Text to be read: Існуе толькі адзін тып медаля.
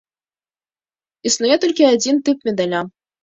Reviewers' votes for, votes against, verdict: 2, 0, accepted